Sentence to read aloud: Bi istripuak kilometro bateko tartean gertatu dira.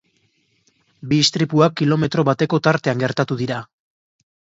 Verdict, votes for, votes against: accepted, 2, 0